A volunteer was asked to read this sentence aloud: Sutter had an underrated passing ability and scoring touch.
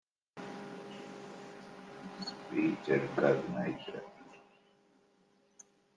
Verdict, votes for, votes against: rejected, 0, 2